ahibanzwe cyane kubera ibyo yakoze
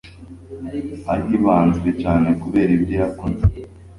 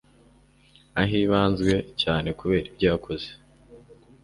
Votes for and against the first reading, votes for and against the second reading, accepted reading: 2, 0, 1, 2, first